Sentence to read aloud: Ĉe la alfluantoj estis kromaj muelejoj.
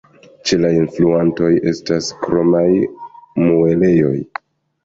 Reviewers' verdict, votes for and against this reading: rejected, 1, 2